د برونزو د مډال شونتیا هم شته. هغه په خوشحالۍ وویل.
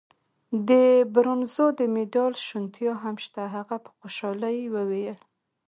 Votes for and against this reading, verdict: 2, 0, accepted